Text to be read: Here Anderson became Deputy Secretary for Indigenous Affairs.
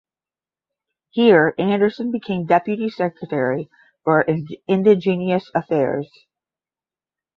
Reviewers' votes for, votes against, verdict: 5, 10, rejected